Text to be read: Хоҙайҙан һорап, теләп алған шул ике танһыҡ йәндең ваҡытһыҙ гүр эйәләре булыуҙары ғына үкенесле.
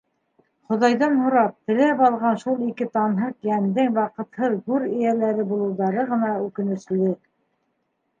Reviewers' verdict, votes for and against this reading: rejected, 0, 2